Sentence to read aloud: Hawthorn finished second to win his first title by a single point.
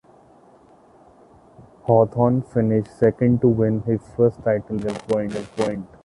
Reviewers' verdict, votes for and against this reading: rejected, 0, 2